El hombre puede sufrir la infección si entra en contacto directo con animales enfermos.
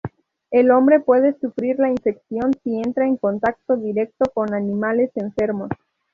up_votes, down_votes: 2, 0